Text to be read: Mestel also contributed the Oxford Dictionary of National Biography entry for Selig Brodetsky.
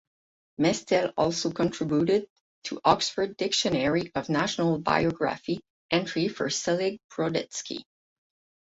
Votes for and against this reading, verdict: 4, 4, rejected